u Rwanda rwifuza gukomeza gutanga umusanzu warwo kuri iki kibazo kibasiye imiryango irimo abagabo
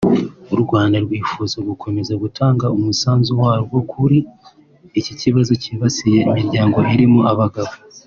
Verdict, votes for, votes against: accepted, 2, 0